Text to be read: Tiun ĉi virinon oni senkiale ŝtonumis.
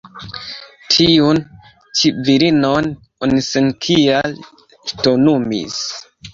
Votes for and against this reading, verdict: 1, 2, rejected